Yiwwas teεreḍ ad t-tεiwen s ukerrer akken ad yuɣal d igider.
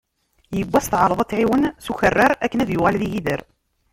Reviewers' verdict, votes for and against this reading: rejected, 1, 2